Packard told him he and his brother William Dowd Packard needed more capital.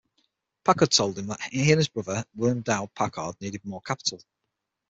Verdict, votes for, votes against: rejected, 3, 6